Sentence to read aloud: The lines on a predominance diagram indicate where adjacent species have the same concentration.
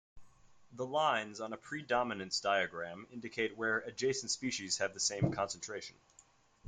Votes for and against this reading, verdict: 2, 0, accepted